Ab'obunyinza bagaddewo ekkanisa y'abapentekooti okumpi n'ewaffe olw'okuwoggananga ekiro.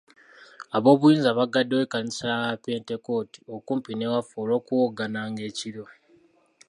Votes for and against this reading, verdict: 3, 0, accepted